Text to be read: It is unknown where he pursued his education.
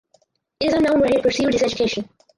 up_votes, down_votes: 0, 4